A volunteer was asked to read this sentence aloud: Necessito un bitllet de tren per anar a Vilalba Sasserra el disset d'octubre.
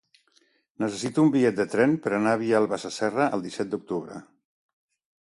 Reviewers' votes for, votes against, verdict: 2, 1, accepted